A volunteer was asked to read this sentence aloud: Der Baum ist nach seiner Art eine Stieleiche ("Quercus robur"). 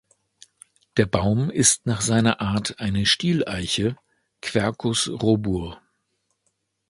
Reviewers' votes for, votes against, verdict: 2, 0, accepted